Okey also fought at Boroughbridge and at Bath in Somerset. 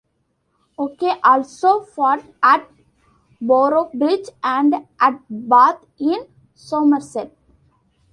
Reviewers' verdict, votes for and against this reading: accepted, 2, 0